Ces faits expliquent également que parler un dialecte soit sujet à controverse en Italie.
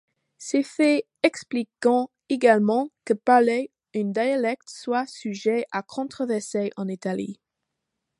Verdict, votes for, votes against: rejected, 0, 2